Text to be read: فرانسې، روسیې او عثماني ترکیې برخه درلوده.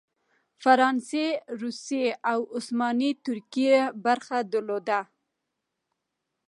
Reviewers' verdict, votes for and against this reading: accepted, 2, 0